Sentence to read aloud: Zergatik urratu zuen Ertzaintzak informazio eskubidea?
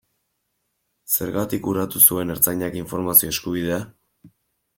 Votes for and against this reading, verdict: 2, 1, accepted